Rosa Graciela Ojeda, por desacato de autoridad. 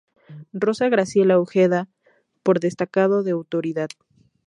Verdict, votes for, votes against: rejected, 0, 2